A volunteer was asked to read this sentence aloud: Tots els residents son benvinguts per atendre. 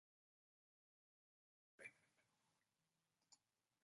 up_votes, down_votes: 0, 2